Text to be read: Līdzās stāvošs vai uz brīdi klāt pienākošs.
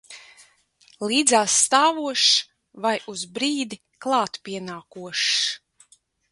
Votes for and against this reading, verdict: 2, 1, accepted